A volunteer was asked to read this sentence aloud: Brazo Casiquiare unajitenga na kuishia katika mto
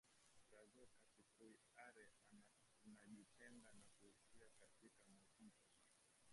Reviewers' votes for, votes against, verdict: 0, 3, rejected